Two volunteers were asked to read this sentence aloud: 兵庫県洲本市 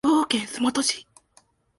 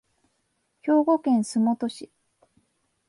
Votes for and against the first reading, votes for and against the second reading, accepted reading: 0, 2, 10, 0, second